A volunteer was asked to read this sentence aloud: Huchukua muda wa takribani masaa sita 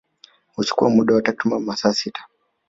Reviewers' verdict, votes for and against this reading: accepted, 3, 1